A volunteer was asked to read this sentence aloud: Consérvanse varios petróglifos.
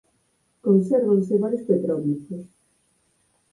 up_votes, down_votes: 4, 0